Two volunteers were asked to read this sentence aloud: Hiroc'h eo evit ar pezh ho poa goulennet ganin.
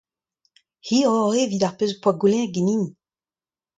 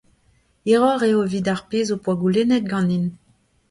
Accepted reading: first